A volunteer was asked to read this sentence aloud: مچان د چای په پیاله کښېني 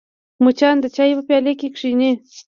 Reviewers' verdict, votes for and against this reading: accepted, 2, 0